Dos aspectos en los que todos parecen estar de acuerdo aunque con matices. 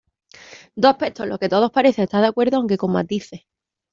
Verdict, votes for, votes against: rejected, 1, 2